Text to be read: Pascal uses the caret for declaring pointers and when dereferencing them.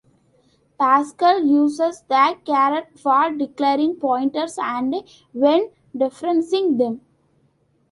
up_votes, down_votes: 2, 1